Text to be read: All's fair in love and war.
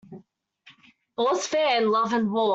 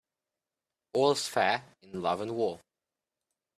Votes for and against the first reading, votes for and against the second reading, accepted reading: 1, 2, 2, 0, second